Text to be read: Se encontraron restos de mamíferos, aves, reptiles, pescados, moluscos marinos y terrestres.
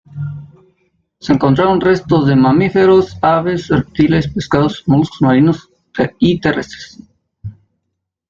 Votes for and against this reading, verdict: 1, 2, rejected